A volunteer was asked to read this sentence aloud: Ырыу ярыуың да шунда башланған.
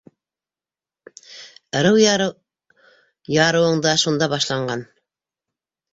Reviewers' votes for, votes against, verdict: 1, 2, rejected